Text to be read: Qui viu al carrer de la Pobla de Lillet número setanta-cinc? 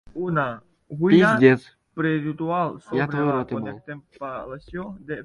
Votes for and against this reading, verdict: 0, 2, rejected